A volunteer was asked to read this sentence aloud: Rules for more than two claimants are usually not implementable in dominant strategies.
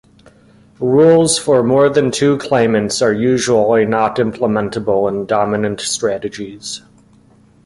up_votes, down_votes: 2, 0